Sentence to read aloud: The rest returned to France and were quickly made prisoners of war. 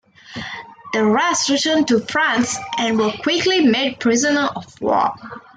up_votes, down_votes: 2, 1